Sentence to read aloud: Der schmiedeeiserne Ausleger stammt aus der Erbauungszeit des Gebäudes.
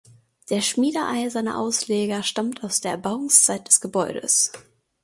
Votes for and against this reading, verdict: 2, 0, accepted